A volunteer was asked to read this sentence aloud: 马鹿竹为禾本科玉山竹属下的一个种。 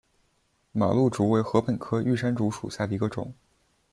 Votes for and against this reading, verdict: 1, 2, rejected